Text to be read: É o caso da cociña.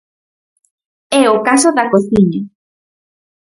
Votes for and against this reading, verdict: 2, 2, rejected